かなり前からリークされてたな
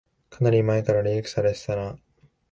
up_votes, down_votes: 1, 2